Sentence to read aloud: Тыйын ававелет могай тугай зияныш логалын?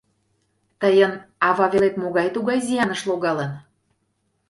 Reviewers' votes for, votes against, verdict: 2, 0, accepted